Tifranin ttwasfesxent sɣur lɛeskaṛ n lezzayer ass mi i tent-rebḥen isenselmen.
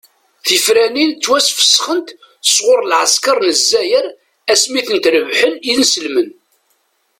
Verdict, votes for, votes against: accepted, 2, 0